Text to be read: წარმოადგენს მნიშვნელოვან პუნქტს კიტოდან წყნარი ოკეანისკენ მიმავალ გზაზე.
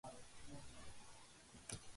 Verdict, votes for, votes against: rejected, 0, 2